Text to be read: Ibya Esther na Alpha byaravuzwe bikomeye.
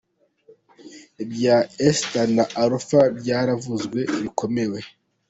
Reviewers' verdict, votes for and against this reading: rejected, 1, 2